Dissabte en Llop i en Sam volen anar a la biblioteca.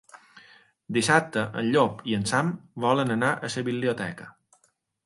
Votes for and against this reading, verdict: 0, 2, rejected